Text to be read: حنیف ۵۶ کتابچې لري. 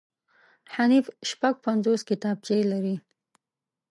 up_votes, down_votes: 0, 2